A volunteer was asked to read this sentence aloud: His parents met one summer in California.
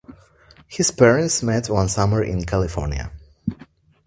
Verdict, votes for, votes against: accepted, 2, 0